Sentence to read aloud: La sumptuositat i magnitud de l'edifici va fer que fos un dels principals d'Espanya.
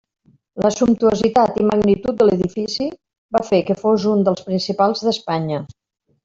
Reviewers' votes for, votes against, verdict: 1, 2, rejected